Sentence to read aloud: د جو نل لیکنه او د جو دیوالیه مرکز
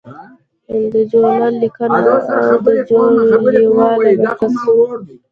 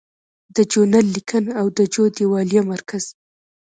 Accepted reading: second